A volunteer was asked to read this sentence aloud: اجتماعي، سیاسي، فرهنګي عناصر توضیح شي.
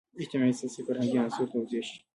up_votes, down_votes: 1, 2